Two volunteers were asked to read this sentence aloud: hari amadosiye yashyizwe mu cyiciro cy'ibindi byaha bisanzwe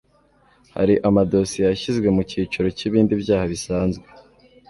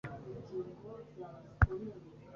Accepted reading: first